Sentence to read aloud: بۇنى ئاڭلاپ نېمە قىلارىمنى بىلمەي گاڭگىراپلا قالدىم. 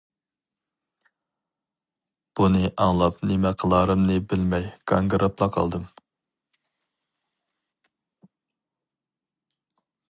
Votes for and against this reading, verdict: 2, 2, rejected